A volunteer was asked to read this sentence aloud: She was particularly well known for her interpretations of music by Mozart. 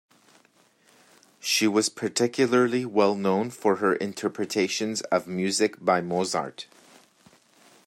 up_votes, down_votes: 2, 1